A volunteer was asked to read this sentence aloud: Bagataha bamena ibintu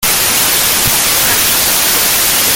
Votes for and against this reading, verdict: 0, 2, rejected